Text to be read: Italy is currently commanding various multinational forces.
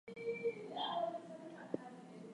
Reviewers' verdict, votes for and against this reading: rejected, 0, 2